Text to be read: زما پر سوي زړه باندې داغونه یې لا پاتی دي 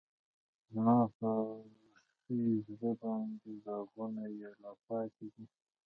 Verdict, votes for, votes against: accepted, 2, 1